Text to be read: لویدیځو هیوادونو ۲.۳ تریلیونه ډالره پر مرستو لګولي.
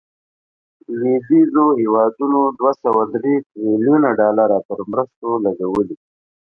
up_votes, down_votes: 0, 2